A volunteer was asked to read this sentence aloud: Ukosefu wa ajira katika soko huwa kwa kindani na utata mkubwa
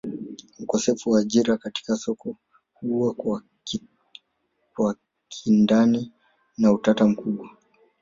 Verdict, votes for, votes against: rejected, 1, 2